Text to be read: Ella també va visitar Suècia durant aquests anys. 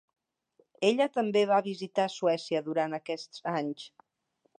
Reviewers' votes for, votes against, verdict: 3, 0, accepted